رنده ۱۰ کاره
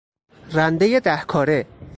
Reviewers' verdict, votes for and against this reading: rejected, 0, 2